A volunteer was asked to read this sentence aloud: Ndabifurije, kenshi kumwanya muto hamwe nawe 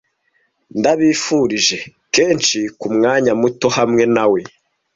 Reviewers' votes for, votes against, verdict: 2, 0, accepted